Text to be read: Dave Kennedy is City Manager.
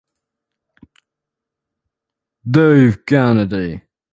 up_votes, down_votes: 0, 2